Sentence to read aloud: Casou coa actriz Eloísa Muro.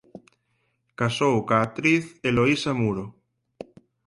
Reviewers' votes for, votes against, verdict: 4, 0, accepted